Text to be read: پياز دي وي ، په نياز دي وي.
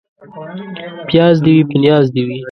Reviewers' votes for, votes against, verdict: 2, 0, accepted